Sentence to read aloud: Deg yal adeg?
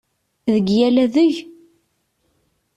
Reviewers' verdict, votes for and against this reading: accepted, 2, 0